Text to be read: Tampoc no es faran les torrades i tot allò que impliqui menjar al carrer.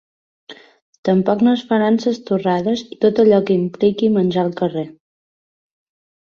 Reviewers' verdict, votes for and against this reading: rejected, 1, 2